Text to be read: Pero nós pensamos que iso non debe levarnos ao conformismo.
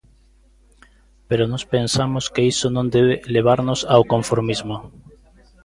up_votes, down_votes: 2, 0